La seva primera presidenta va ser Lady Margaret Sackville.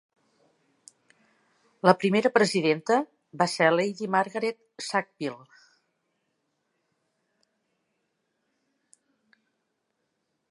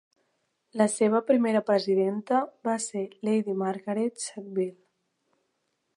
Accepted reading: second